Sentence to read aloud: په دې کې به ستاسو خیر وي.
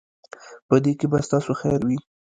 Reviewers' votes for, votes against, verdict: 0, 2, rejected